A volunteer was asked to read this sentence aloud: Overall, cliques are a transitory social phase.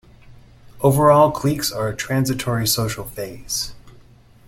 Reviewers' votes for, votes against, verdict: 0, 2, rejected